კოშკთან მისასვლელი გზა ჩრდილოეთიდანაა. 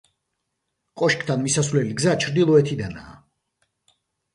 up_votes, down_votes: 1, 2